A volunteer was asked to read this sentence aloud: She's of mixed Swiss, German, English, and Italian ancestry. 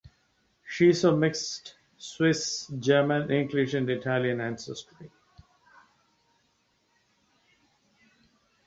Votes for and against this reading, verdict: 2, 0, accepted